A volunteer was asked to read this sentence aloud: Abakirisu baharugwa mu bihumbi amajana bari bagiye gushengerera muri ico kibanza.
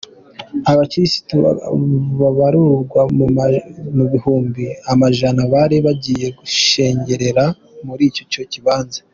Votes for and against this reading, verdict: 3, 1, accepted